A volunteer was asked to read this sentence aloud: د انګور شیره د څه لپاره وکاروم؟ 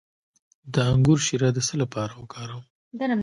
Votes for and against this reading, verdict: 1, 2, rejected